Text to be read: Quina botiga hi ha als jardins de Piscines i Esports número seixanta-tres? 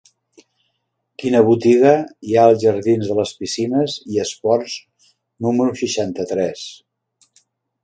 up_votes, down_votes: 1, 2